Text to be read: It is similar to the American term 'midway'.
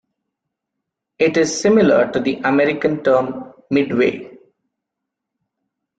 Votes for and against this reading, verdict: 2, 0, accepted